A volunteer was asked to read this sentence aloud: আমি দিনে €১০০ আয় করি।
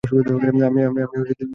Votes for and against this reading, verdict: 0, 2, rejected